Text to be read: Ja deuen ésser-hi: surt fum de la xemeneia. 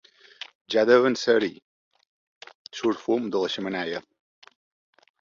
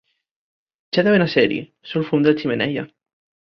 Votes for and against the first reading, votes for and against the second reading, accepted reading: 2, 0, 2, 3, first